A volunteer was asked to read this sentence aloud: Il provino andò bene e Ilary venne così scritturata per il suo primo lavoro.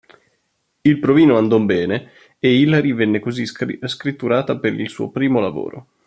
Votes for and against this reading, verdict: 0, 3, rejected